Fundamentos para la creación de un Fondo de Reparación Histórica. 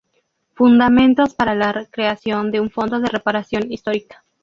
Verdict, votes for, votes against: rejected, 0, 2